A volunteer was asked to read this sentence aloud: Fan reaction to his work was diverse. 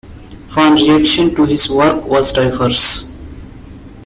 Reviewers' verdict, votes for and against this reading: rejected, 0, 2